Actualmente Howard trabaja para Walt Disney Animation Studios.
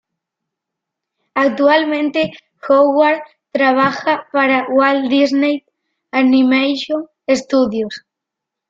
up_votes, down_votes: 1, 2